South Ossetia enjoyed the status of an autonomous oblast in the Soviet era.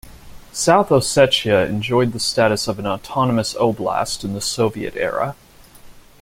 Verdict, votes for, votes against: accepted, 2, 0